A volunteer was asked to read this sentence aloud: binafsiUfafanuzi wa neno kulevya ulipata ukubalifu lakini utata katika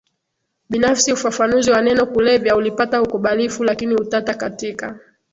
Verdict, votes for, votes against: accepted, 6, 0